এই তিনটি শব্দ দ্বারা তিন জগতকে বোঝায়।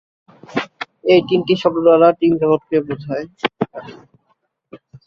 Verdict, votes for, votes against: rejected, 2, 2